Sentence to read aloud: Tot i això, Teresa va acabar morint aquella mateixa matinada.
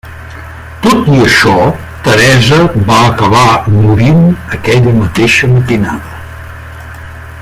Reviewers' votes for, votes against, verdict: 2, 1, accepted